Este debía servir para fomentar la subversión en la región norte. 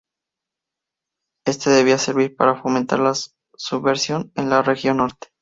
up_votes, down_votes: 0, 2